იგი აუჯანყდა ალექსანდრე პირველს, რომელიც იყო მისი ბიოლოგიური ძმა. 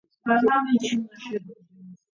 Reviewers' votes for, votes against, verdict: 0, 2, rejected